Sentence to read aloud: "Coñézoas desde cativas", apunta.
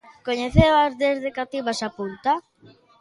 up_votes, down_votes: 1, 2